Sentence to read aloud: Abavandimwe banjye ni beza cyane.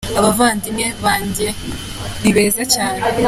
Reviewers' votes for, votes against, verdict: 2, 0, accepted